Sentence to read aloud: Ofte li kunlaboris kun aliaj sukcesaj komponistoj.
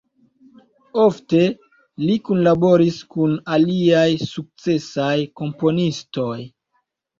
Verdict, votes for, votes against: accepted, 2, 0